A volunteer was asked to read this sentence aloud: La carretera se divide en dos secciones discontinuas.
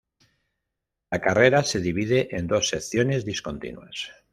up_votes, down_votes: 1, 2